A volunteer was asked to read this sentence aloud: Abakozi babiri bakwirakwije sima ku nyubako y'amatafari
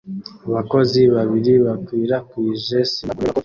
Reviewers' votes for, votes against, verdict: 0, 2, rejected